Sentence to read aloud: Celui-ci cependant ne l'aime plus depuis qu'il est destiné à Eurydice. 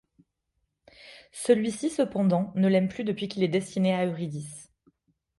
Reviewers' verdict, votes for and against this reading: accepted, 2, 0